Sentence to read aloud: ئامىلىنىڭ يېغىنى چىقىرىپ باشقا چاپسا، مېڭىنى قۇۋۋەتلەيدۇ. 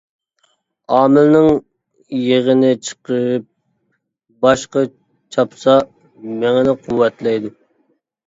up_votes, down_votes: 0, 2